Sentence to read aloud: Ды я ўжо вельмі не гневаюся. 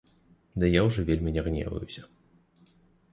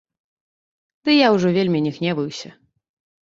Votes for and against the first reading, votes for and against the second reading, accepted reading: 2, 0, 1, 2, first